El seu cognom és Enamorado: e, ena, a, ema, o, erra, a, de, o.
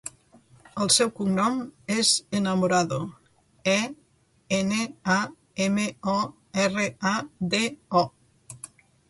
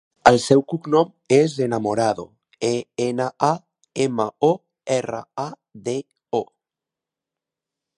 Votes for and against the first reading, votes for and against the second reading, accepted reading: 1, 2, 2, 0, second